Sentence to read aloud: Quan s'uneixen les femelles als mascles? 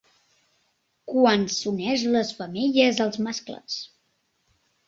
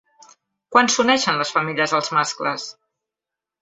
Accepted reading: second